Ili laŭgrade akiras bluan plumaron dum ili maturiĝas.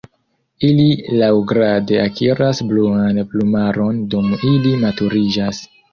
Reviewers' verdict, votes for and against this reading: accepted, 2, 0